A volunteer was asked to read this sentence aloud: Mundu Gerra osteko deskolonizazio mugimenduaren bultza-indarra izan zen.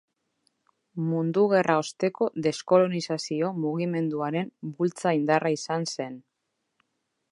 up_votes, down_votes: 2, 0